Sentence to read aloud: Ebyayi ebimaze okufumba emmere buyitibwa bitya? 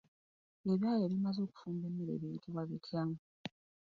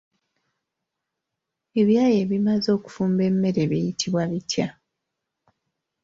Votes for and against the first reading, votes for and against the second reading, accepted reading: 0, 2, 2, 0, second